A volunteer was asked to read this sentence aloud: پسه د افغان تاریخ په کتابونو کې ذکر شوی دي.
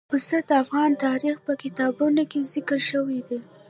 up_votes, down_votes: 0, 2